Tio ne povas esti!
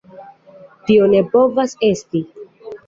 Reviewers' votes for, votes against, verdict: 2, 0, accepted